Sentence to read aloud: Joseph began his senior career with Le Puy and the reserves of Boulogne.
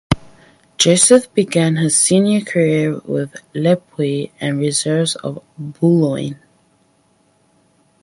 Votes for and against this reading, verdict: 2, 2, rejected